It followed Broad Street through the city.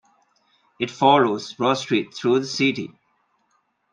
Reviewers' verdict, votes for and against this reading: accepted, 2, 0